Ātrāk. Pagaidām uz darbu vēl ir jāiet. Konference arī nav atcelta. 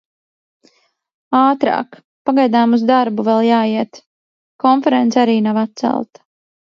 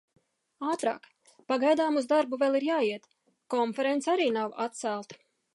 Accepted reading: second